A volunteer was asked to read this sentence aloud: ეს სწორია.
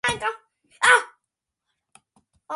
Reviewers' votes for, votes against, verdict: 1, 2, rejected